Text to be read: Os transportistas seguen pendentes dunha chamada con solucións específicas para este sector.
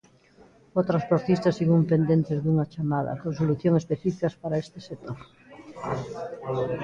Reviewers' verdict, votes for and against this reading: rejected, 0, 2